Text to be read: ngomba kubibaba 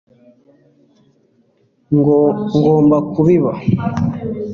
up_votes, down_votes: 1, 2